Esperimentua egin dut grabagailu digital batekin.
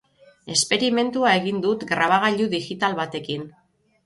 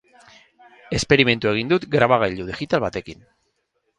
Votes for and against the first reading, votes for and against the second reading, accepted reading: 3, 3, 4, 0, second